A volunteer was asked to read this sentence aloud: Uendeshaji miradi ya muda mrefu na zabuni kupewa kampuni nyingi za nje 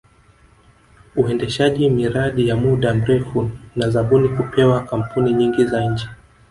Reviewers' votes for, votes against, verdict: 0, 2, rejected